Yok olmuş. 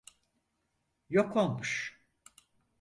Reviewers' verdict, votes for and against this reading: accepted, 4, 0